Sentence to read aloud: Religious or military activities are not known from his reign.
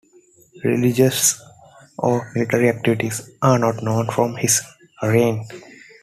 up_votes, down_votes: 2, 1